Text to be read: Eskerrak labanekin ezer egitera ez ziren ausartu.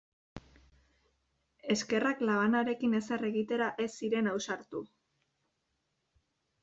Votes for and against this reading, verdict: 0, 2, rejected